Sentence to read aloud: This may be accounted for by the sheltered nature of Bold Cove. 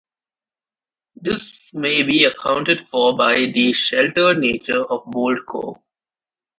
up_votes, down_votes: 1, 2